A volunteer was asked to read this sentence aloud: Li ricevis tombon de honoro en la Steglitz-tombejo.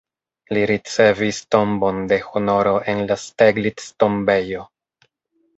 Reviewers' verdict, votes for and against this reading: rejected, 1, 2